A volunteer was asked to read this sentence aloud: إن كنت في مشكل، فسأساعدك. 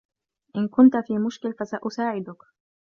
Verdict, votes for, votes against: accepted, 2, 0